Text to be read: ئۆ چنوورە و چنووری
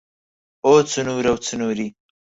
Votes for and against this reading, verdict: 4, 0, accepted